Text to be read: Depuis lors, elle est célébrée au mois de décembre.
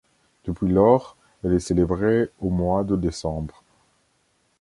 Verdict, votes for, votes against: accepted, 2, 0